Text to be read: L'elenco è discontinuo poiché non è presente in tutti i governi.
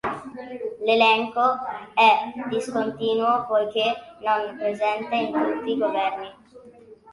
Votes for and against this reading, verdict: 0, 2, rejected